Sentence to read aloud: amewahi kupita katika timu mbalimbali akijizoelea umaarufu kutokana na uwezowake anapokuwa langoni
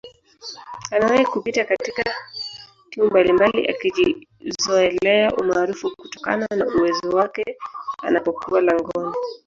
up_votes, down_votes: 1, 3